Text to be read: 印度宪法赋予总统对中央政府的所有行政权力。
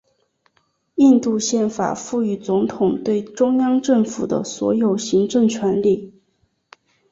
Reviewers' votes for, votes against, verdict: 3, 0, accepted